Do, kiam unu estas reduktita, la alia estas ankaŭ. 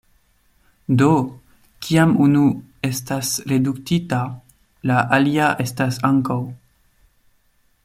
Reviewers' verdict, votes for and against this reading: accepted, 2, 0